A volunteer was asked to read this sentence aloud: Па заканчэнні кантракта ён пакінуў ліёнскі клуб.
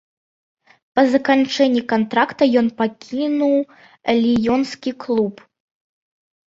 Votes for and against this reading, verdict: 2, 0, accepted